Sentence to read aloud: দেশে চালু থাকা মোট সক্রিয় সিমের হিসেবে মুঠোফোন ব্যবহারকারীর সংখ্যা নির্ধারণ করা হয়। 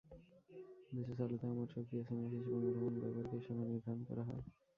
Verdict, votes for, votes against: rejected, 0, 2